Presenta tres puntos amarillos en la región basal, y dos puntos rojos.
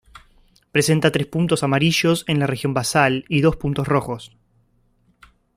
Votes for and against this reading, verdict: 2, 0, accepted